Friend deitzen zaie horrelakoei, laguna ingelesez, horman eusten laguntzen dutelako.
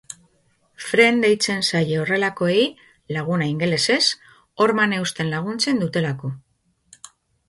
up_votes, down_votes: 2, 0